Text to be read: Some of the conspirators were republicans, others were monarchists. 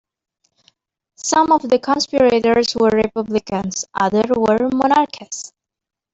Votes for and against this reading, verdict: 1, 2, rejected